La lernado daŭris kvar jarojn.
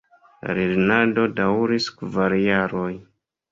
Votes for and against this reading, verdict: 1, 2, rejected